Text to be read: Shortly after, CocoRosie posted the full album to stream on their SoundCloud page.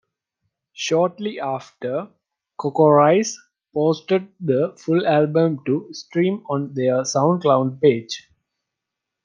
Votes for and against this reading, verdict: 2, 0, accepted